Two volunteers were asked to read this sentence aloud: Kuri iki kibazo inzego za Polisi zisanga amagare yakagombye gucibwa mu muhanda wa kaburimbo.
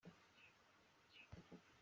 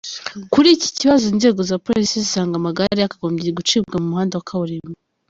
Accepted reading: second